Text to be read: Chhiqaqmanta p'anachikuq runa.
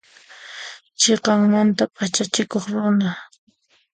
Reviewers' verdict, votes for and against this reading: accepted, 2, 1